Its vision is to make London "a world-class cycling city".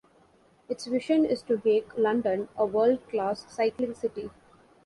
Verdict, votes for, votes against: rejected, 1, 2